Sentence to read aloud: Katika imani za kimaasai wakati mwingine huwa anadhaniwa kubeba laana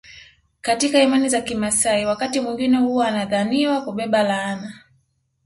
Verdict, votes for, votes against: accepted, 2, 0